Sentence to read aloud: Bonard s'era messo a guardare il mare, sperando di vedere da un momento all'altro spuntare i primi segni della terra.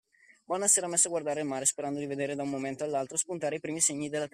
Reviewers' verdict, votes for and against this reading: rejected, 0, 2